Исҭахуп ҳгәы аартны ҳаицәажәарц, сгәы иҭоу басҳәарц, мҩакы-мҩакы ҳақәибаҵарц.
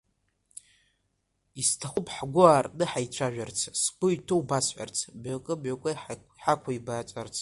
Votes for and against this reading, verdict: 2, 1, accepted